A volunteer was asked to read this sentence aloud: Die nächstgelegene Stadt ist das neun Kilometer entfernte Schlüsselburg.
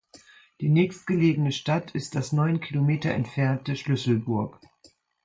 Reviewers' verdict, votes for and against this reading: accepted, 2, 0